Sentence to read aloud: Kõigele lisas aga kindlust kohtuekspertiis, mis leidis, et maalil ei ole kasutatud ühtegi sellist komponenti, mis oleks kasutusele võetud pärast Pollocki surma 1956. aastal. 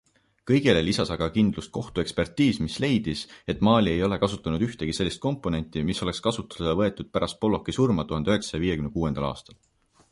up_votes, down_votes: 0, 2